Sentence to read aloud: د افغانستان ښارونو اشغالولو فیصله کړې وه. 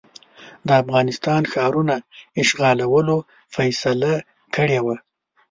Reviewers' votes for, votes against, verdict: 0, 2, rejected